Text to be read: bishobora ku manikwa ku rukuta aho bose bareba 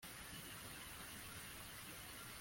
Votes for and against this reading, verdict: 0, 2, rejected